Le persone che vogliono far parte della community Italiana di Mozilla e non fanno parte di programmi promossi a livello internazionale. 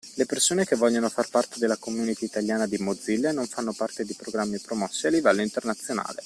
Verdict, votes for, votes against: accepted, 2, 0